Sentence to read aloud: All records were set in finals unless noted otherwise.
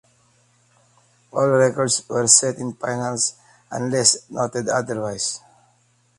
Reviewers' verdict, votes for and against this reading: accepted, 2, 0